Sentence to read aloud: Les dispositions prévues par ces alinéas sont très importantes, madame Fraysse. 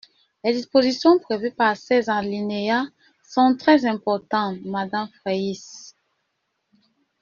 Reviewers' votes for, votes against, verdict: 2, 1, accepted